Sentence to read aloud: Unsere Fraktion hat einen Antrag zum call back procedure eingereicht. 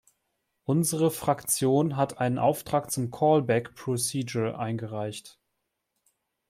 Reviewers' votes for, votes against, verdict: 0, 2, rejected